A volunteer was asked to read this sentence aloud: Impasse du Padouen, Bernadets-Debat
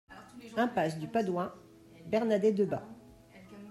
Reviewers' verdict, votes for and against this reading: accepted, 2, 1